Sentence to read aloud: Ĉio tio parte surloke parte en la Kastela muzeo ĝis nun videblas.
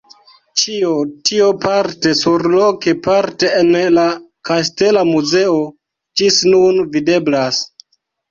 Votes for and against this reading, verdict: 1, 2, rejected